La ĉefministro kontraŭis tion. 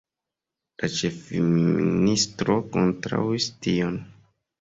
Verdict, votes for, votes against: rejected, 1, 2